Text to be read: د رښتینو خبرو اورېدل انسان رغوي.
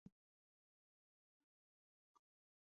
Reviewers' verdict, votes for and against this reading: rejected, 1, 2